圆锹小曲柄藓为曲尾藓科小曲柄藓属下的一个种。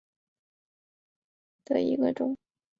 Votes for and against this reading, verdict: 2, 4, rejected